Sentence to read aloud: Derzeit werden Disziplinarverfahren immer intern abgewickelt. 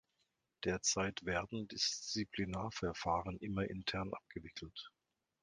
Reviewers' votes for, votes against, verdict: 2, 0, accepted